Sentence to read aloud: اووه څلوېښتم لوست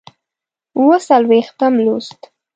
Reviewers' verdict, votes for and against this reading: accepted, 2, 0